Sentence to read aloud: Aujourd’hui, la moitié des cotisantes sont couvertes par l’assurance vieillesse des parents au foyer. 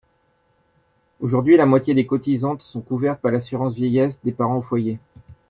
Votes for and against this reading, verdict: 0, 2, rejected